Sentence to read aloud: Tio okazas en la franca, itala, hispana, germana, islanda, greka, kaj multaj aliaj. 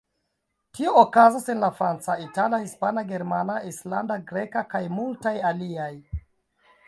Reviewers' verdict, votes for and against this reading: rejected, 1, 2